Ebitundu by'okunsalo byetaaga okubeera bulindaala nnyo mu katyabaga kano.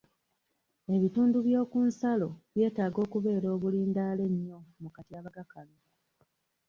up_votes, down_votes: 1, 2